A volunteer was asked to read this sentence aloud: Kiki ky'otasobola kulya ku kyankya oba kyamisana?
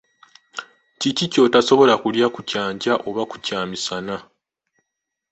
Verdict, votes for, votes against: accepted, 2, 0